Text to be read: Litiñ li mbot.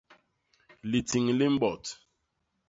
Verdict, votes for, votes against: rejected, 0, 2